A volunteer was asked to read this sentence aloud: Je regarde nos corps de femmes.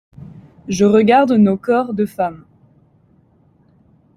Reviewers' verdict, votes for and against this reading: accepted, 2, 0